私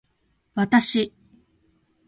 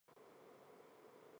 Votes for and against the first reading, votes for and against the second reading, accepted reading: 2, 0, 0, 2, first